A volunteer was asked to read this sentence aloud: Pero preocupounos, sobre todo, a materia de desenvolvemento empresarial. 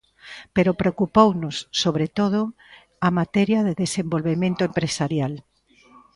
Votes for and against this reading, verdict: 2, 0, accepted